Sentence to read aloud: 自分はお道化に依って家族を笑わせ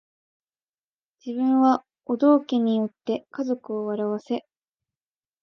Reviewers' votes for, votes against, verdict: 2, 0, accepted